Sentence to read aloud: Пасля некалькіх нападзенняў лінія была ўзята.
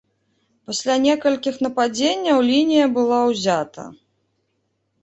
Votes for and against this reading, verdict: 2, 0, accepted